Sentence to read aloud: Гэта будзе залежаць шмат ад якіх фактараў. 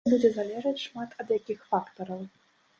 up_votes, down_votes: 0, 2